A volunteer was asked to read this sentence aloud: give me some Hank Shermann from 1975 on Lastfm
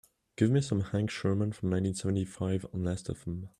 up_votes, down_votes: 0, 2